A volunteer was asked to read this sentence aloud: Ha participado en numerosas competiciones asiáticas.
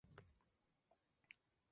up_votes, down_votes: 0, 2